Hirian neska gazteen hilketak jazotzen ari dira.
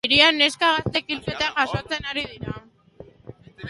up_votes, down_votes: 0, 2